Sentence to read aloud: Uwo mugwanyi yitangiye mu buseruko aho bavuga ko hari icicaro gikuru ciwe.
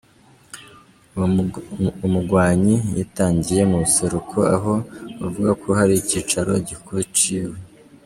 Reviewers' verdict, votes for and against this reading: accepted, 2, 1